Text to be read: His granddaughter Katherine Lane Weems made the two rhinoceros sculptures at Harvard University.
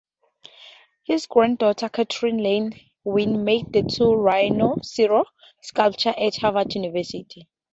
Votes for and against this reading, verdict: 0, 2, rejected